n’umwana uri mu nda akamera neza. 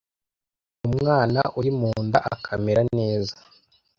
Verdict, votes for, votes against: rejected, 1, 2